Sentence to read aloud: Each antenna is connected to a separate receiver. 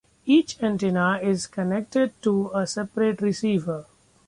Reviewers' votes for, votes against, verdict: 2, 0, accepted